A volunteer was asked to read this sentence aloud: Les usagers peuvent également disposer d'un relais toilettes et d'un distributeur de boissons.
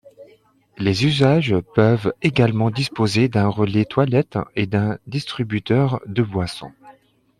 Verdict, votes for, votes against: rejected, 0, 2